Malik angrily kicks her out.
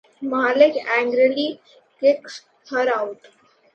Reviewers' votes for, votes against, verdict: 2, 0, accepted